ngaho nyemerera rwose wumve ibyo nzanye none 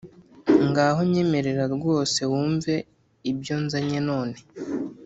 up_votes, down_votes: 0, 2